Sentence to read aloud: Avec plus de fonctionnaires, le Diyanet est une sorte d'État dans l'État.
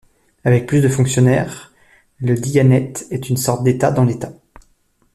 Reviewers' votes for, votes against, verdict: 2, 0, accepted